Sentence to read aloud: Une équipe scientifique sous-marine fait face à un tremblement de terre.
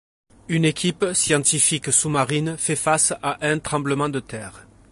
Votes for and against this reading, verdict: 2, 0, accepted